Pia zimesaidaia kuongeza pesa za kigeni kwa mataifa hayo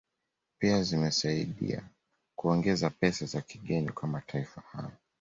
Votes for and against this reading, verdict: 2, 0, accepted